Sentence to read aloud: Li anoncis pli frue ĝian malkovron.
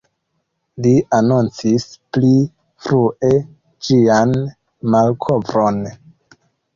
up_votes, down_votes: 2, 0